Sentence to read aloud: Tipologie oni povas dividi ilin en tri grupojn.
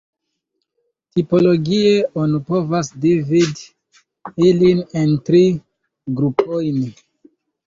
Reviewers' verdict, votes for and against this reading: rejected, 0, 2